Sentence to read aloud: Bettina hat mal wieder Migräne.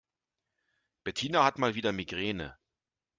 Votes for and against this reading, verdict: 2, 0, accepted